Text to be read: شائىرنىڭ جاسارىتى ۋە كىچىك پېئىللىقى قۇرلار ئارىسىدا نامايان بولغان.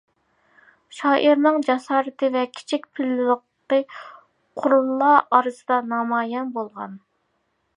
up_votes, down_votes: 1, 2